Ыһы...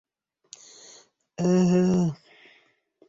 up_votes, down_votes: 1, 2